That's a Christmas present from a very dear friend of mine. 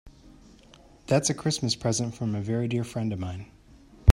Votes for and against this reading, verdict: 4, 0, accepted